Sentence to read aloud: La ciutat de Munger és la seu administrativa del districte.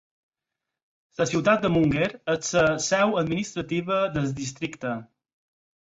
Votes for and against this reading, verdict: 0, 4, rejected